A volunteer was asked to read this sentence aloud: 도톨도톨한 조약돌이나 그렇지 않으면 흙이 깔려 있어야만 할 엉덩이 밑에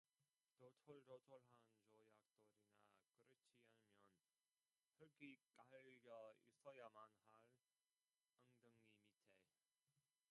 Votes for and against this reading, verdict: 0, 2, rejected